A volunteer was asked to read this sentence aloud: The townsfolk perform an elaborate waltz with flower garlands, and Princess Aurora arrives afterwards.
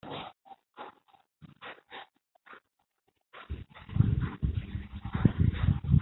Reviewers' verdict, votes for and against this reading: rejected, 0, 2